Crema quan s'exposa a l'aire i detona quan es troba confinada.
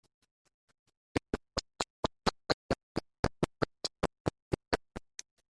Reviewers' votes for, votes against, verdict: 0, 2, rejected